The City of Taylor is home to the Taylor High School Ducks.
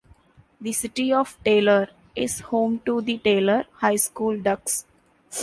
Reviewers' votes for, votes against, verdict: 2, 0, accepted